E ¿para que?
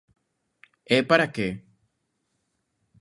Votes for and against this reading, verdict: 2, 0, accepted